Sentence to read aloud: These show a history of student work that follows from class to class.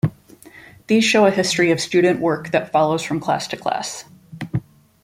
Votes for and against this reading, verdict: 2, 0, accepted